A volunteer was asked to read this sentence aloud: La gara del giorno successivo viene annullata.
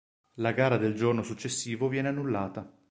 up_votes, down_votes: 2, 0